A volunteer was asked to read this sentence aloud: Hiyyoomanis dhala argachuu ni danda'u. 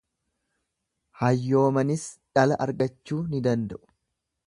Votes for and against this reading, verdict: 1, 2, rejected